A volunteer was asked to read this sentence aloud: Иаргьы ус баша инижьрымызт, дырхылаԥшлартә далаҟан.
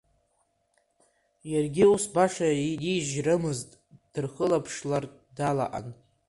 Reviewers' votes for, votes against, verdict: 2, 1, accepted